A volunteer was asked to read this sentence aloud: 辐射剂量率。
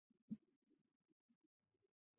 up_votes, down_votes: 0, 4